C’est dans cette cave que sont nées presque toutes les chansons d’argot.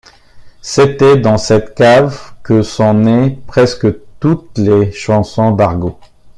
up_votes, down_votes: 0, 2